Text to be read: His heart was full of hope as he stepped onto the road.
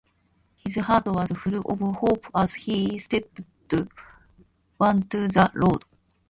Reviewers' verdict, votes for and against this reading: rejected, 0, 2